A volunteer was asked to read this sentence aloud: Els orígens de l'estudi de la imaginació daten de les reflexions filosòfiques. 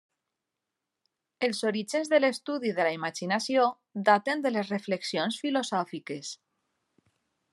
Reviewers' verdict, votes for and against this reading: accepted, 3, 0